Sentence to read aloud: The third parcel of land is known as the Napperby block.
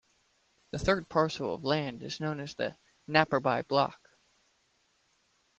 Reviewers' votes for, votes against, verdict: 2, 0, accepted